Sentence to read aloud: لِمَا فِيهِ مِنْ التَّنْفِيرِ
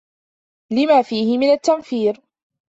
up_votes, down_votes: 2, 0